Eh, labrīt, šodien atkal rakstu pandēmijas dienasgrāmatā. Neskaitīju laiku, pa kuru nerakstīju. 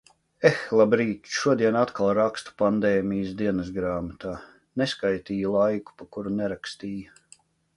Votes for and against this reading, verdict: 2, 0, accepted